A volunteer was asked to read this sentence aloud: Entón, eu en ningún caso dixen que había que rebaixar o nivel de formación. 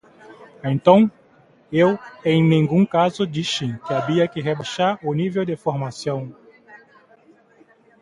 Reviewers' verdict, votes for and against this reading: rejected, 0, 2